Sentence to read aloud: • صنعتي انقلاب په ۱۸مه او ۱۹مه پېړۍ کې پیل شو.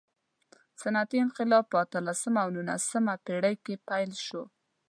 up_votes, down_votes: 0, 2